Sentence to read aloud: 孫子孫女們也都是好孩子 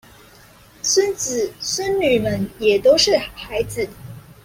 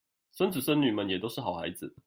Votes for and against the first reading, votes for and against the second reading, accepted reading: 2, 0, 1, 2, first